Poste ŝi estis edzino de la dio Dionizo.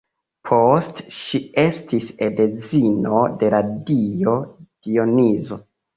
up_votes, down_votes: 1, 2